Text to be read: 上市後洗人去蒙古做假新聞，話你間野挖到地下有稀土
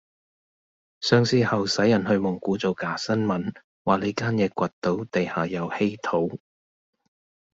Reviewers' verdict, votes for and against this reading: rejected, 1, 2